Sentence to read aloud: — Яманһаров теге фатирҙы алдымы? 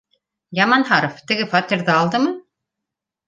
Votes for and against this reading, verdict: 2, 0, accepted